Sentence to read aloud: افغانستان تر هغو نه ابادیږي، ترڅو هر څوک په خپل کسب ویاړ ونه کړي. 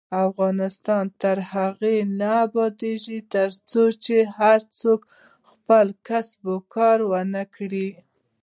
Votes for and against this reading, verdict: 0, 2, rejected